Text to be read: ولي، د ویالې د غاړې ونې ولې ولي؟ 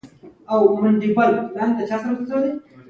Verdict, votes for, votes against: rejected, 0, 2